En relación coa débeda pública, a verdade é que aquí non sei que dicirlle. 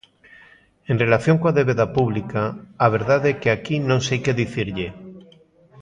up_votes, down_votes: 2, 0